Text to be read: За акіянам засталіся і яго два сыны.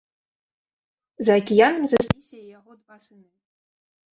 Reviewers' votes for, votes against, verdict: 1, 2, rejected